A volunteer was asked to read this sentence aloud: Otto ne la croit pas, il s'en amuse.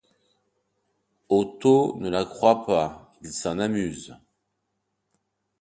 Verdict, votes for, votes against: accepted, 2, 0